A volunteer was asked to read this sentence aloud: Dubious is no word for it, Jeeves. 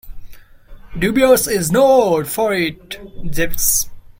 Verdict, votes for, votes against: rejected, 0, 2